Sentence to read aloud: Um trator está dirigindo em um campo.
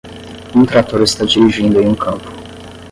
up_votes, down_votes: 5, 5